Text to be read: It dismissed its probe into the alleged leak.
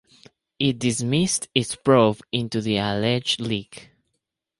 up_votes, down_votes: 2, 2